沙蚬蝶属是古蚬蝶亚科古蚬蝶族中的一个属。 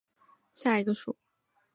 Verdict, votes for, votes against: rejected, 0, 6